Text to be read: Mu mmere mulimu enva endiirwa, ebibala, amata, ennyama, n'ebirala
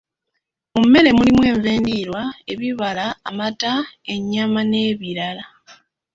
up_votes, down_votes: 2, 1